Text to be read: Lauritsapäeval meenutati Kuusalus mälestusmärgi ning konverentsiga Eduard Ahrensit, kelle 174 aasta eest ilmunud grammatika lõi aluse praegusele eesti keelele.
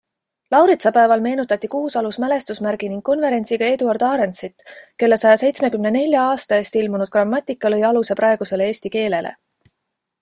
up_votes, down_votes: 0, 2